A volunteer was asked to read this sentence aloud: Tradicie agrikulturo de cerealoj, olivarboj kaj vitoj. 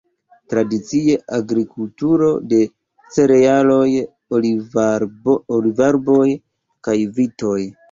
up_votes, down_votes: 0, 2